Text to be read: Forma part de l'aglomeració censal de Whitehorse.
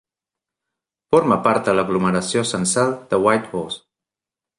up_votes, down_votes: 2, 0